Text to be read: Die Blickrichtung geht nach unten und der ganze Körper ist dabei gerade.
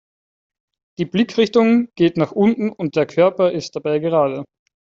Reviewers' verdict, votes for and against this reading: rejected, 0, 4